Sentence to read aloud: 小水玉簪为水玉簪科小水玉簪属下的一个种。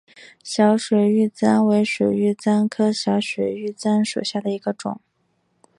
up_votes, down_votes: 5, 0